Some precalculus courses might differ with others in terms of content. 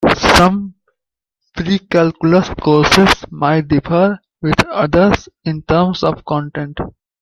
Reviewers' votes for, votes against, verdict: 2, 0, accepted